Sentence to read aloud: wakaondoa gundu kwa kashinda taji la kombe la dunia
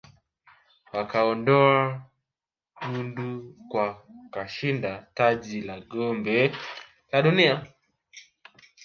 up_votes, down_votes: 2, 1